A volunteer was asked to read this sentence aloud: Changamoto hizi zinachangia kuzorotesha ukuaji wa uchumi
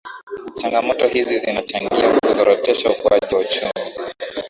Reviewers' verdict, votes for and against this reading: rejected, 0, 2